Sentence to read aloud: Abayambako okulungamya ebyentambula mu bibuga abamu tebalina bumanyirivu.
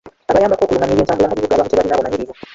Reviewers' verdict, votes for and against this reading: rejected, 0, 3